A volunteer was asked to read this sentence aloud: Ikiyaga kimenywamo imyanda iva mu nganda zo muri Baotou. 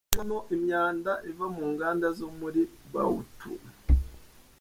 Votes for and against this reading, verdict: 1, 2, rejected